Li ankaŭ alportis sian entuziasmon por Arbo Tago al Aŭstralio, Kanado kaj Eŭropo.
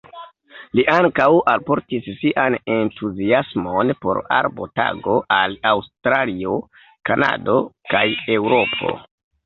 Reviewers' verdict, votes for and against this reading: accepted, 2, 1